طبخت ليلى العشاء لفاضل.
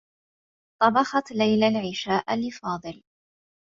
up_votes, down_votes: 1, 2